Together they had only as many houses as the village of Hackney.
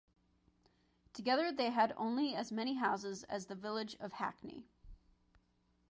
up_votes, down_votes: 2, 0